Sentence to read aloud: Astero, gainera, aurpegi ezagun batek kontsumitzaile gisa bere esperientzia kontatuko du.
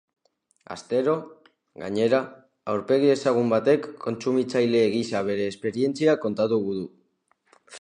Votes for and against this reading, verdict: 0, 2, rejected